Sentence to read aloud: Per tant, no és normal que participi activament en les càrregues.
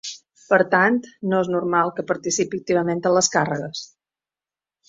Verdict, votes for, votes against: accepted, 3, 1